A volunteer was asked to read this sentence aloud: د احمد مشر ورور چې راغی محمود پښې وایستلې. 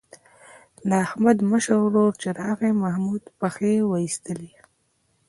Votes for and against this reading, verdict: 0, 2, rejected